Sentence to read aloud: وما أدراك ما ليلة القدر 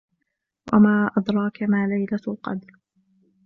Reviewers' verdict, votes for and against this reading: accepted, 2, 0